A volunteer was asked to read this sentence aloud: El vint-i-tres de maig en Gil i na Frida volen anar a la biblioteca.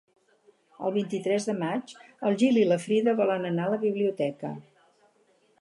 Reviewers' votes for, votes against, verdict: 0, 4, rejected